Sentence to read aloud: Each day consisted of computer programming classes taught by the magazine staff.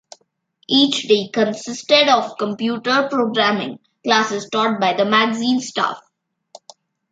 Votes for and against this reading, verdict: 2, 0, accepted